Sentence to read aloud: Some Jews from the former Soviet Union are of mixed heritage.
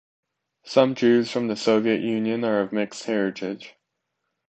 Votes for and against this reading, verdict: 1, 3, rejected